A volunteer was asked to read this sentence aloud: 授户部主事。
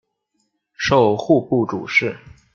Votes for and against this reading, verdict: 2, 0, accepted